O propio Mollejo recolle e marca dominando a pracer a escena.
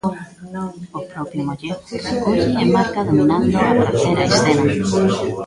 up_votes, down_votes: 0, 2